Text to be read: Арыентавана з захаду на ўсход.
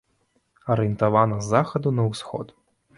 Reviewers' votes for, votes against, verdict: 2, 0, accepted